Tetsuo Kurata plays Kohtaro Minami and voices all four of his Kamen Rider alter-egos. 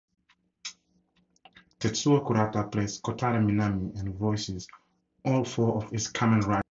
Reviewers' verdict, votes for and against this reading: rejected, 0, 4